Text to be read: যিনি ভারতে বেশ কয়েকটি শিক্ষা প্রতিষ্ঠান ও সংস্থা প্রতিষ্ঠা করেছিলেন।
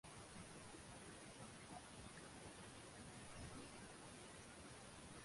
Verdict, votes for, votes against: rejected, 0, 9